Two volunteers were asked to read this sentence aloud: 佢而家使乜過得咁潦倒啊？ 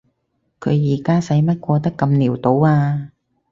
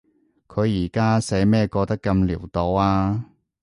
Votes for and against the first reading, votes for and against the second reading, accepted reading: 6, 0, 0, 2, first